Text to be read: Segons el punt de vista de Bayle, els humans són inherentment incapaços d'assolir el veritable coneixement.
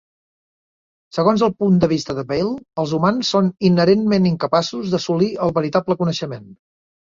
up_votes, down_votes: 2, 0